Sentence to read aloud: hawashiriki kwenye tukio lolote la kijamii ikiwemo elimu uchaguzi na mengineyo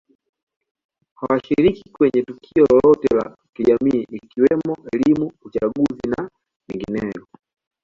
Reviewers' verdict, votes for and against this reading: accepted, 2, 0